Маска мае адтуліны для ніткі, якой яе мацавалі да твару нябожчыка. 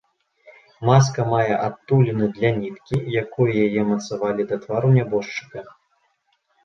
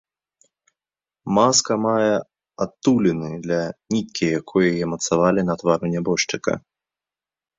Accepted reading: first